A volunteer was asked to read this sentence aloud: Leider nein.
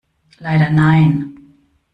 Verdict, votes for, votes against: rejected, 1, 2